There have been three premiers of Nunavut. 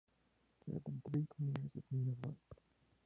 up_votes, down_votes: 0, 2